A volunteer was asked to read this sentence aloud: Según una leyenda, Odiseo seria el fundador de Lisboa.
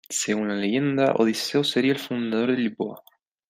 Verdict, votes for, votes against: accepted, 3, 0